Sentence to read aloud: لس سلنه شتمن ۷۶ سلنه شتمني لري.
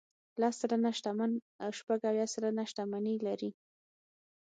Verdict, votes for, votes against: rejected, 0, 2